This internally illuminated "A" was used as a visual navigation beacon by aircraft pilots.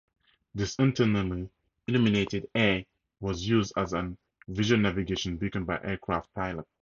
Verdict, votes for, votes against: rejected, 2, 2